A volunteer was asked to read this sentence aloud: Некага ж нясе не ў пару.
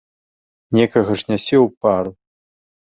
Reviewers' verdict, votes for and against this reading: rejected, 1, 2